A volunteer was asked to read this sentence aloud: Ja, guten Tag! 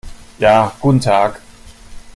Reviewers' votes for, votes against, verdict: 2, 0, accepted